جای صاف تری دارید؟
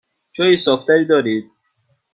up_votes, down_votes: 2, 0